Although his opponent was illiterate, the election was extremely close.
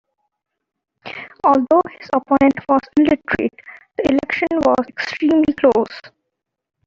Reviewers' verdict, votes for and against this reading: rejected, 0, 2